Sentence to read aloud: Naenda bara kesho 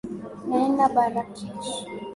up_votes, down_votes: 1, 2